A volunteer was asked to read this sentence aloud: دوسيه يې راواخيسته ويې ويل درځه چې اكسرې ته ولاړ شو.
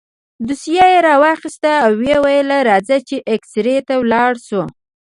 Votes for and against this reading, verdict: 1, 2, rejected